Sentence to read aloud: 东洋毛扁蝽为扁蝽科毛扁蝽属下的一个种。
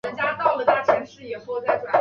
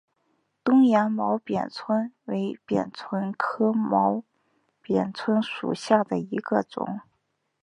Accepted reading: second